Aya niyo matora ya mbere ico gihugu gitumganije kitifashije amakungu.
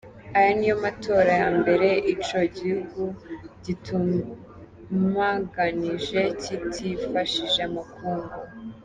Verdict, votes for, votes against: rejected, 0, 2